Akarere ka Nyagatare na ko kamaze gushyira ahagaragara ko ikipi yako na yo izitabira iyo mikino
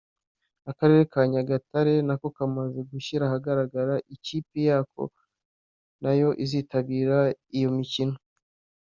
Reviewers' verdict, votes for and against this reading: rejected, 1, 2